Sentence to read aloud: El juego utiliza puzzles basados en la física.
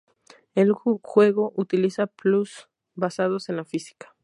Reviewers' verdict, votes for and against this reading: accepted, 2, 0